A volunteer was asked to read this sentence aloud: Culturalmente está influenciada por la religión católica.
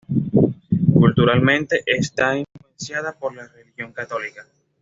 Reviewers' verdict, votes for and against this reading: rejected, 1, 2